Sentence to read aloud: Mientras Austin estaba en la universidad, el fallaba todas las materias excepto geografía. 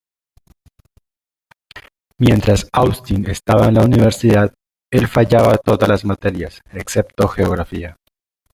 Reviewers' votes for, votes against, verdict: 1, 2, rejected